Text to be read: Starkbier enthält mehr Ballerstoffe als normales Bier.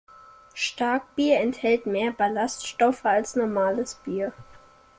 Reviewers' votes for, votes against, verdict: 0, 2, rejected